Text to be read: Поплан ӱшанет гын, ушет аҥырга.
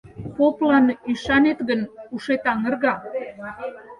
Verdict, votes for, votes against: rejected, 0, 4